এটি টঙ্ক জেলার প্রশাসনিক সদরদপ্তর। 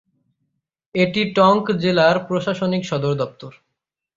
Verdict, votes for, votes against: accepted, 6, 0